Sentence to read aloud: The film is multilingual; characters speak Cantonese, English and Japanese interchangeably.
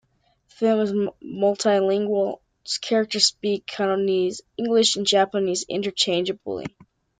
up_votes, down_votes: 1, 2